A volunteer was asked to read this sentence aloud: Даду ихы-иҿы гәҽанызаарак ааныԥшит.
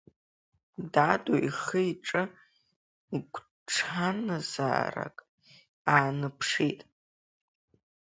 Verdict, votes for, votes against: rejected, 0, 2